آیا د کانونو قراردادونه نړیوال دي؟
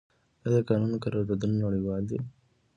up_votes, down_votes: 2, 1